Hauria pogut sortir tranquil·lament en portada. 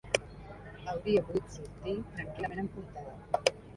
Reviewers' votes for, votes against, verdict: 1, 2, rejected